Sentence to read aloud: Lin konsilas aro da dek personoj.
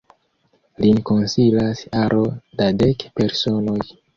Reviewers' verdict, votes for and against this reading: accepted, 3, 0